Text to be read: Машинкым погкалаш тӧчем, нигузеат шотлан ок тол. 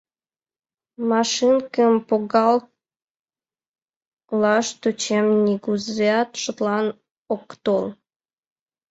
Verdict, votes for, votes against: rejected, 0, 2